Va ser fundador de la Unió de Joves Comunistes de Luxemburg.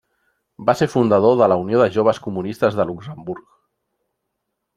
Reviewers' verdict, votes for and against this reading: accepted, 3, 0